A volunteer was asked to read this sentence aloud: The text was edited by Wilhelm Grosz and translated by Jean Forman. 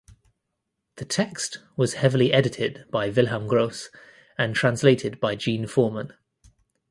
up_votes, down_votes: 0, 2